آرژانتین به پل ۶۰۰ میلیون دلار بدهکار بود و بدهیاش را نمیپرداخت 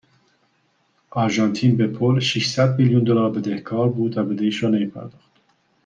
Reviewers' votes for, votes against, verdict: 0, 2, rejected